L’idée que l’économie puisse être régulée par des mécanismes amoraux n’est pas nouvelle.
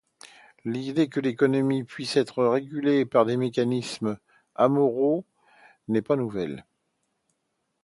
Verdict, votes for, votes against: accepted, 2, 0